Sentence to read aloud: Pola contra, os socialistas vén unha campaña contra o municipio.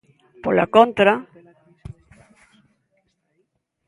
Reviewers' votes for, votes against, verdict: 0, 2, rejected